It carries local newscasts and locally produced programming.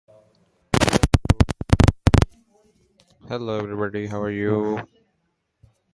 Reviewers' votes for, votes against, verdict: 0, 2, rejected